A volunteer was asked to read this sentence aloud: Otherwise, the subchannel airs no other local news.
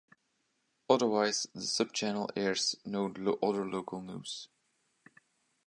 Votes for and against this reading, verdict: 0, 2, rejected